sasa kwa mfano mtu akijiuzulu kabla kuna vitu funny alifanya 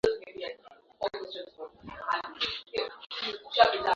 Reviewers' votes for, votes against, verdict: 1, 6, rejected